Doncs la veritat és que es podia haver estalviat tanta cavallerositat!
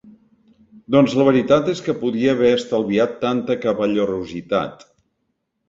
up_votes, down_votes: 0, 2